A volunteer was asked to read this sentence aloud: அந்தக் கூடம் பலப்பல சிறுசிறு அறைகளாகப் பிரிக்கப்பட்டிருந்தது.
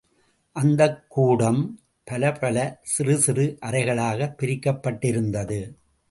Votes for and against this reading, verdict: 2, 0, accepted